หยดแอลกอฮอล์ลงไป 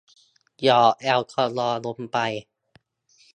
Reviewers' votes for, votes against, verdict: 0, 2, rejected